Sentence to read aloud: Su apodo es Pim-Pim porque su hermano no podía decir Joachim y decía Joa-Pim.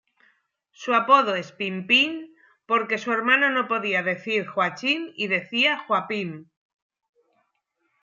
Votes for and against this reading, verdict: 1, 2, rejected